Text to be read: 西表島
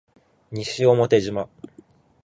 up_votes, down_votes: 3, 1